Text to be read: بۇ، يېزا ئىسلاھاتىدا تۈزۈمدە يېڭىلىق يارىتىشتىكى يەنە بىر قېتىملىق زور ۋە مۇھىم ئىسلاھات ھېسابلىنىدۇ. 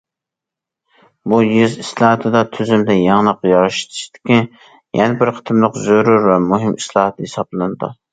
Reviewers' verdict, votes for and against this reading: rejected, 0, 2